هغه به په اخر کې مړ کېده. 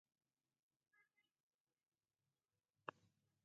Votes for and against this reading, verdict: 0, 4, rejected